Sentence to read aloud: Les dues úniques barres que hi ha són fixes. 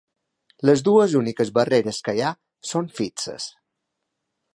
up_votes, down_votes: 0, 3